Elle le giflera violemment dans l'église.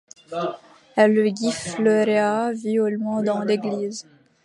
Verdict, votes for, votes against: rejected, 1, 2